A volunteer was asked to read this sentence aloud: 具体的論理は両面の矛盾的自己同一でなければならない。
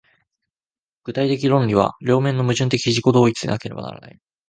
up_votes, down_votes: 2, 0